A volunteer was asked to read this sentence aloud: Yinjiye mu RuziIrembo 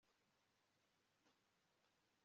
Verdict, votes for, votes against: rejected, 1, 2